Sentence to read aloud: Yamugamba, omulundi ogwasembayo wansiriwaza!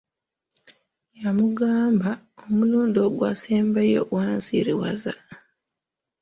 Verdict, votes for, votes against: accepted, 2, 0